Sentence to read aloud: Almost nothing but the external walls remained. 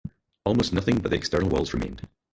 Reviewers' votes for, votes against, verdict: 0, 4, rejected